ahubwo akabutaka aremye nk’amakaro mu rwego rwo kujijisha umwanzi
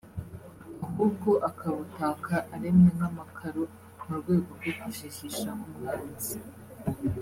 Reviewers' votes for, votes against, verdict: 1, 2, rejected